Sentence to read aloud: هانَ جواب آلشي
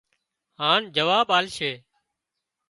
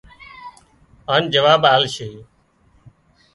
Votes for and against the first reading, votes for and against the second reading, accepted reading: 2, 0, 0, 2, first